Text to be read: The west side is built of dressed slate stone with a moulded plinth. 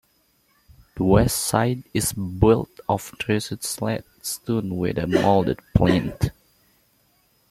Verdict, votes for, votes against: accepted, 2, 0